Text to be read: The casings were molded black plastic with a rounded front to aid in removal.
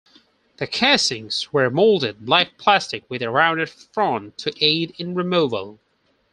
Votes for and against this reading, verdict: 4, 0, accepted